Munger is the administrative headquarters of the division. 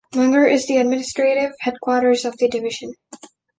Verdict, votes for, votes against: accepted, 2, 1